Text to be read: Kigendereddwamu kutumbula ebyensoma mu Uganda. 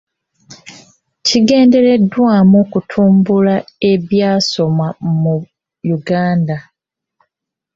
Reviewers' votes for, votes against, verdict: 0, 2, rejected